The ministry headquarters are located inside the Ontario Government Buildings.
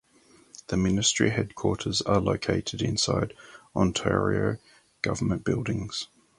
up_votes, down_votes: 0, 4